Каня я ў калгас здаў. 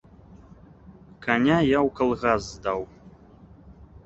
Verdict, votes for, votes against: accepted, 2, 0